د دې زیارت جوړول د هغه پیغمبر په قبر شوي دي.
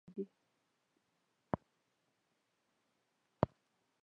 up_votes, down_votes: 0, 2